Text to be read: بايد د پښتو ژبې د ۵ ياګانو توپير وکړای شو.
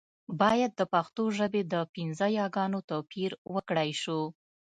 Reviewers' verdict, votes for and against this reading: rejected, 0, 2